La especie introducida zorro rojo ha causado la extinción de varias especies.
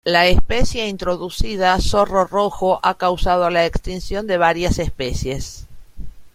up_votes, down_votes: 3, 1